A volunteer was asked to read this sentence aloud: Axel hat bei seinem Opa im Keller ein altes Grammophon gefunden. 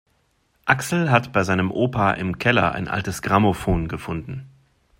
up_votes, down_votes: 2, 0